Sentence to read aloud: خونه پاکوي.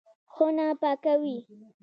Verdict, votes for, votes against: accepted, 2, 0